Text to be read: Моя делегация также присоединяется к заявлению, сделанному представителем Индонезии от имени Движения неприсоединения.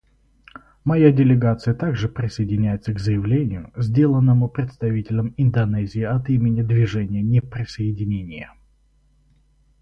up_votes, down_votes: 0, 4